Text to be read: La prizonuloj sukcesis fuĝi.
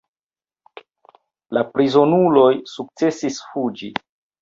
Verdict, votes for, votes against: accepted, 2, 1